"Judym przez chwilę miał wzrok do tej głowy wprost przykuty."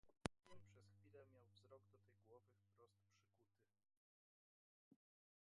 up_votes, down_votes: 0, 2